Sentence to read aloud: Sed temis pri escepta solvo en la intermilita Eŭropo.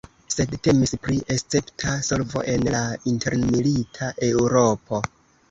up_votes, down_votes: 2, 0